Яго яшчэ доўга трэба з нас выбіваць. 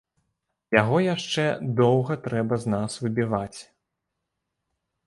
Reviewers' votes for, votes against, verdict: 2, 0, accepted